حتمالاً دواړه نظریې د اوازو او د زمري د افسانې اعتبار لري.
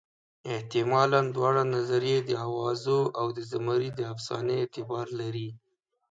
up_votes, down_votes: 2, 0